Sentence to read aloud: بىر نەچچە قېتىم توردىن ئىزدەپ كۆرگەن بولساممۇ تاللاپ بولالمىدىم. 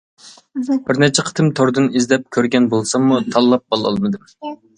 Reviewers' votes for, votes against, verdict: 2, 1, accepted